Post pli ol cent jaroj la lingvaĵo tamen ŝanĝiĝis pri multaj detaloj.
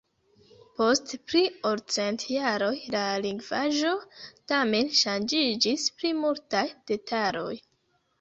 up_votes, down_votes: 1, 2